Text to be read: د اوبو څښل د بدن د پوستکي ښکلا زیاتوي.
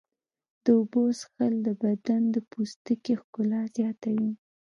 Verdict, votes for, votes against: accepted, 2, 1